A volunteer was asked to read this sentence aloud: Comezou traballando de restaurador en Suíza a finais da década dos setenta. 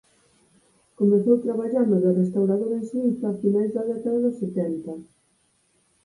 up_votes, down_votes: 4, 0